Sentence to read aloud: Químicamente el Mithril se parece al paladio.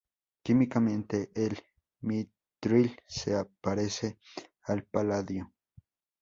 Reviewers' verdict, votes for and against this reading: accepted, 2, 0